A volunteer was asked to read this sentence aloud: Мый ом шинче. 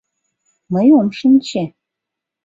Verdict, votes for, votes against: accepted, 2, 0